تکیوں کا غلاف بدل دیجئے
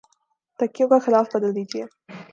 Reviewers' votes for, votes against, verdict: 2, 0, accepted